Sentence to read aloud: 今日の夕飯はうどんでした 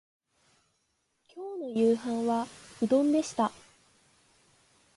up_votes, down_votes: 2, 1